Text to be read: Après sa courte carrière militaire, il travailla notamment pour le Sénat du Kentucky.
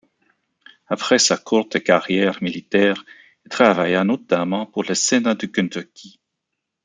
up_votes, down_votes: 0, 2